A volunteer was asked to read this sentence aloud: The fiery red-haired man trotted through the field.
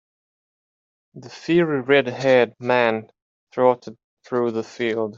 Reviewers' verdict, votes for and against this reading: rejected, 0, 3